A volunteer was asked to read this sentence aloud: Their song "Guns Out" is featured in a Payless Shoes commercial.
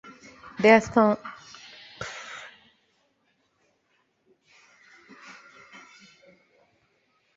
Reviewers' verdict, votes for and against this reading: rejected, 0, 2